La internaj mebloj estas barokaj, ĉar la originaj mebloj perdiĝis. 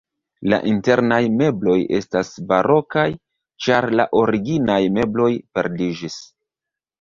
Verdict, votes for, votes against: rejected, 1, 2